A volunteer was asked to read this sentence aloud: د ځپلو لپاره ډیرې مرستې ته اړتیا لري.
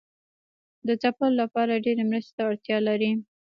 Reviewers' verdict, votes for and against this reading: rejected, 0, 2